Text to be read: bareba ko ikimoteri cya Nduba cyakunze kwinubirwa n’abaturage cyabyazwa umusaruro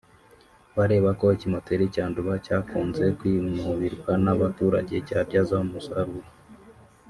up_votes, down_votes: 0, 2